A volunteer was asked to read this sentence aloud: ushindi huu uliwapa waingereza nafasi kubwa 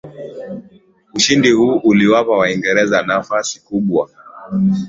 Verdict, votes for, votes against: accepted, 2, 0